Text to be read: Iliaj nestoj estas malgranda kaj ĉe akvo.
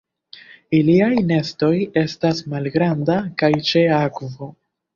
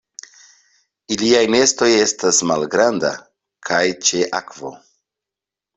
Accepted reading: second